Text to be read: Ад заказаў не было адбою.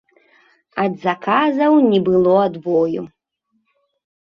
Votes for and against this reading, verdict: 3, 0, accepted